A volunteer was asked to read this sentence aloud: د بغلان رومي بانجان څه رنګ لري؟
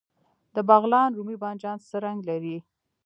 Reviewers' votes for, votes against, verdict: 2, 1, accepted